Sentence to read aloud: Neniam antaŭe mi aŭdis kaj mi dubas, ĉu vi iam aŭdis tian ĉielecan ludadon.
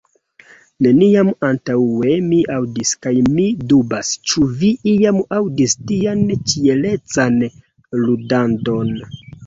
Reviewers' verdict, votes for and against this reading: rejected, 1, 2